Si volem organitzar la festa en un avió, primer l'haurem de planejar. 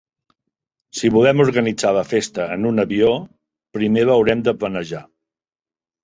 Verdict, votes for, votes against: accepted, 2, 0